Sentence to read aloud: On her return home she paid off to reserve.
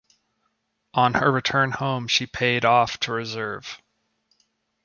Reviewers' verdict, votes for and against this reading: accepted, 2, 0